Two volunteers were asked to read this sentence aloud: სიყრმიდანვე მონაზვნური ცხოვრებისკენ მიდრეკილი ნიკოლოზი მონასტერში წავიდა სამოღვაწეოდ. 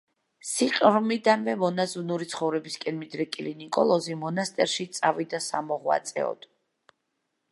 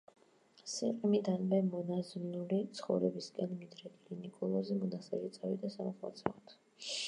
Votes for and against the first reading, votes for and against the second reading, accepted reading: 2, 0, 1, 2, first